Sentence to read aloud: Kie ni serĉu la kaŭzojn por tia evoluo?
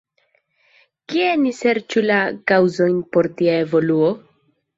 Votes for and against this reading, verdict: 2, 0, accepted